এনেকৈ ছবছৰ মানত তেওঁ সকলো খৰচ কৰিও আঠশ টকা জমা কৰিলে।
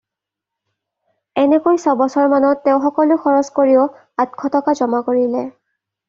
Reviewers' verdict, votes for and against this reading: accepted, 2, 0